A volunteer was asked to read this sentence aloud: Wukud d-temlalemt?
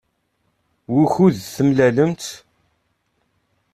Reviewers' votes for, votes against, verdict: 2, 0, accepted